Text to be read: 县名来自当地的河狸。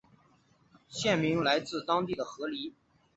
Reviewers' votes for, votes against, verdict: 2, 0, accepted